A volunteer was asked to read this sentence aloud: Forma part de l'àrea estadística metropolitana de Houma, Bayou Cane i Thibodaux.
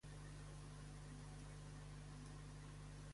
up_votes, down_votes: 1, 2